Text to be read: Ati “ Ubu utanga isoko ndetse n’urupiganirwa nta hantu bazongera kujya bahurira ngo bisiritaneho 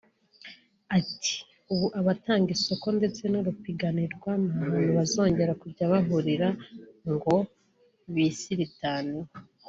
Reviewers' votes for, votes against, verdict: 1, 3, rejected